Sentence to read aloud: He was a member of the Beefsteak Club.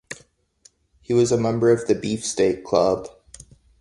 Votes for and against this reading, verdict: 2, 0, accepted